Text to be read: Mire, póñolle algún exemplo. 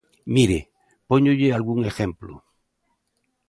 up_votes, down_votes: 1, 2